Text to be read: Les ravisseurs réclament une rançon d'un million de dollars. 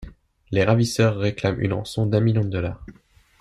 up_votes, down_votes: 2, 0